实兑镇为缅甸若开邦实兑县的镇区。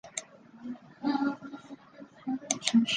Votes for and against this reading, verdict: 0, 3, rejected